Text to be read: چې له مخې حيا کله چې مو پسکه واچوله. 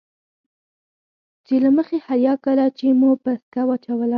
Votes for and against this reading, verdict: 2, 4, rejected